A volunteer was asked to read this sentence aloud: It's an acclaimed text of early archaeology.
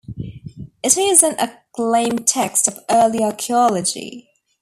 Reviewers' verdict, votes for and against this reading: rejected, 1, 2